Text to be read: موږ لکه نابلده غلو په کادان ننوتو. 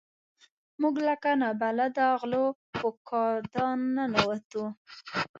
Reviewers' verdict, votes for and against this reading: accepted, 2, 1